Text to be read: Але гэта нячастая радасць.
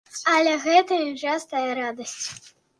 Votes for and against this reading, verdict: 1, 2, rejected